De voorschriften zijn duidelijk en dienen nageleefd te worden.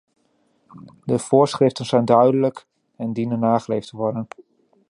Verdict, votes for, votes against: accepted, 2, 0